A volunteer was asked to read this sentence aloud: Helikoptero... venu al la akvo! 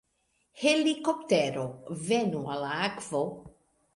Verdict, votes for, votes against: rejected, 0, 2